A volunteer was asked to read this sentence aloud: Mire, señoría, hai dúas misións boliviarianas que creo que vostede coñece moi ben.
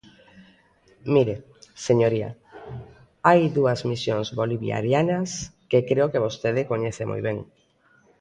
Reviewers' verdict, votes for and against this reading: accepted, 2, 0